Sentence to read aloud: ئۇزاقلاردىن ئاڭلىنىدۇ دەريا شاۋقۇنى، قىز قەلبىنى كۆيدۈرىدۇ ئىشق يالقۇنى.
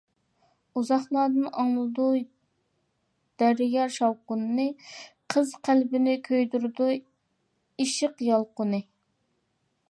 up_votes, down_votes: 0, 2